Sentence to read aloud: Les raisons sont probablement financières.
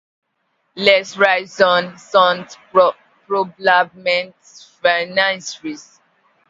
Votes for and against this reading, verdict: 0, 2, rejected